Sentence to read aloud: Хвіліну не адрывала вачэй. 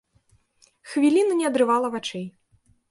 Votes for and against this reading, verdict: 2, 0, accepted